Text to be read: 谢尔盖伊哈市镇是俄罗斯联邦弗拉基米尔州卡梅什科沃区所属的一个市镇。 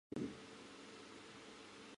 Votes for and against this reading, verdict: 0, 2, rejected